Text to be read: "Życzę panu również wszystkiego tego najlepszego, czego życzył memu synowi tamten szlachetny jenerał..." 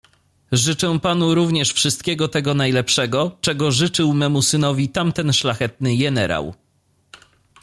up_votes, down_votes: 2, 0